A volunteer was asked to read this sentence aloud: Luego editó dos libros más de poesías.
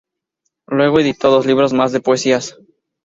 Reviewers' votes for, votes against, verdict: 2, 0, accepted